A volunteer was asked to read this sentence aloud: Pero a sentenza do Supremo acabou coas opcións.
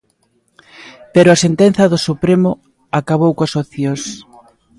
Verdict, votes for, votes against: accepted, 2, 0